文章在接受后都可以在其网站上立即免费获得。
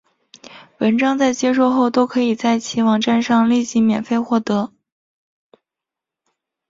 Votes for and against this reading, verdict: 4, 0, accepted